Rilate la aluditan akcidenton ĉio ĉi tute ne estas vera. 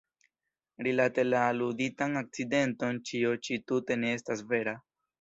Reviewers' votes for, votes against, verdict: 2, 0, accepted